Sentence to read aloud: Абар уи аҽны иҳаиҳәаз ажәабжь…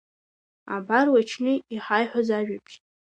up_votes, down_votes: 0, 2